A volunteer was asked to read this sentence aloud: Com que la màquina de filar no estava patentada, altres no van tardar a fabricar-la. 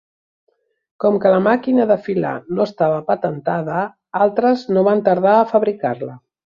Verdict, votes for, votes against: accepted, 2, 0